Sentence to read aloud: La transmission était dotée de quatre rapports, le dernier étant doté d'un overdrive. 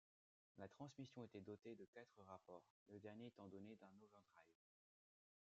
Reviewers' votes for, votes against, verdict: 2, 0, accepted